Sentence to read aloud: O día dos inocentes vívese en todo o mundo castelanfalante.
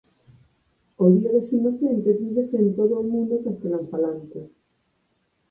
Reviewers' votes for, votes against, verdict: 2, 4, rejected